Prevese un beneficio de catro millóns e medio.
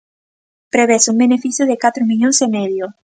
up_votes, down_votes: 2, 0